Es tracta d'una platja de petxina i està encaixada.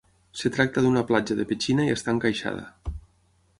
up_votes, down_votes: 0, 6